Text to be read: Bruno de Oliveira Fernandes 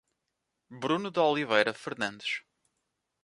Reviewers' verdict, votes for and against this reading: accepted, 2, 0